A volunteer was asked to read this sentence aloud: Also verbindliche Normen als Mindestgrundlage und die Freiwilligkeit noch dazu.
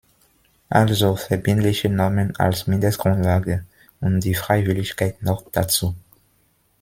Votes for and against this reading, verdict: 2, 0, accepted